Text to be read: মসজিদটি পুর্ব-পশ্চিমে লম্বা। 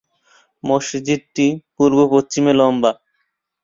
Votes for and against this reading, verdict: 2, 1, accepted